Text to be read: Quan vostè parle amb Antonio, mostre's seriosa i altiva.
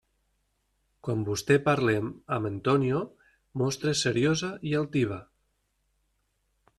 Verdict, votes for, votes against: rejected, 1, 2